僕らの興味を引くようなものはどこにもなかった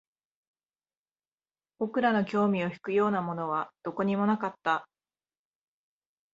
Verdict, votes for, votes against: accepted, 13, 1